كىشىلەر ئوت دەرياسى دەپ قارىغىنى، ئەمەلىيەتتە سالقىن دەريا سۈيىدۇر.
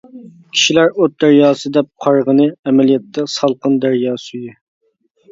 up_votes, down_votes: 0, 2